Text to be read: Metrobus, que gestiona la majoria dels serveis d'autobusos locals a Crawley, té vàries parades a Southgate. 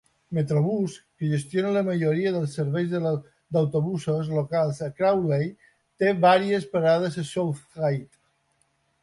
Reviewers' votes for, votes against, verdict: 0, 2, rejected